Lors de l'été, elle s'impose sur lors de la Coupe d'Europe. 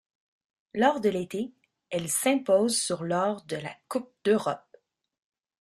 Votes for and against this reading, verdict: 1, 2, rejected